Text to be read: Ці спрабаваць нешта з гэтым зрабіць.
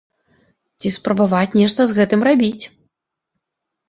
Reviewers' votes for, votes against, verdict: 1, 3, rejected